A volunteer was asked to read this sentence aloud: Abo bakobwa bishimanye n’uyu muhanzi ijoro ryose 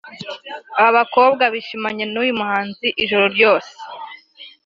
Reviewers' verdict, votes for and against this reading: accepted, 2, 0